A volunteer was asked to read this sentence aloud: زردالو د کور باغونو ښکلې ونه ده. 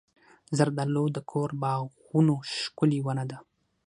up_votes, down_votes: 6, 0